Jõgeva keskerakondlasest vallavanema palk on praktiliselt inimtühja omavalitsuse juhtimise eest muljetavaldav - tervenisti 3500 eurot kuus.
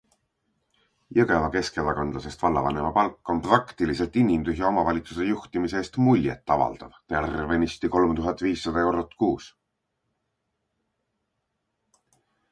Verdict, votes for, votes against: rejected, 0, 2